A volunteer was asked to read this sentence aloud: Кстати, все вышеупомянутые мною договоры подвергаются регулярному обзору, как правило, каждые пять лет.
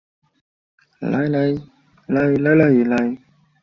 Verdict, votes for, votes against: rejected, 0, 2